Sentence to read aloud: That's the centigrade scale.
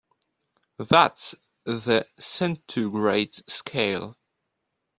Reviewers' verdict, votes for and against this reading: rejected, 0, 2